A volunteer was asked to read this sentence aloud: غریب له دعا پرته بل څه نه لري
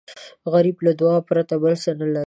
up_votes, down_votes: 2, 0